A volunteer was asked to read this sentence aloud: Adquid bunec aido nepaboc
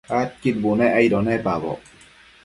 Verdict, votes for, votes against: accepted, 2, 0